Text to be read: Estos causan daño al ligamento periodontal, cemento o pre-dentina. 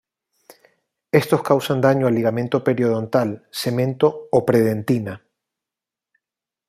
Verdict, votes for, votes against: accepted, 2, 0